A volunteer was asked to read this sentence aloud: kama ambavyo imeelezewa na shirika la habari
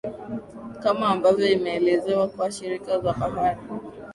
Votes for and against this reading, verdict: 2, 1, accepted